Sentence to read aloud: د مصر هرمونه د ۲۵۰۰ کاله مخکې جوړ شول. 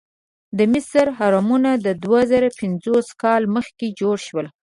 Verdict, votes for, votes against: rejected, 0, 2